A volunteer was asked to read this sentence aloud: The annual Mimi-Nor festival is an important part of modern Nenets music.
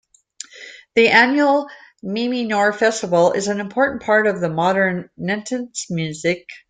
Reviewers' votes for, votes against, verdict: 0, 2, rejected